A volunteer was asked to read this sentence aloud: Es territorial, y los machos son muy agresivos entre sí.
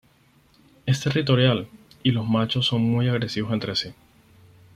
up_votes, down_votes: 4, 0